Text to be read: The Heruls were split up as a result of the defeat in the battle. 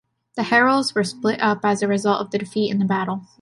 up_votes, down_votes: 2, 0